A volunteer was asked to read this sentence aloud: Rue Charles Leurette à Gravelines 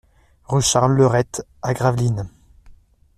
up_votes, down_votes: 2, 0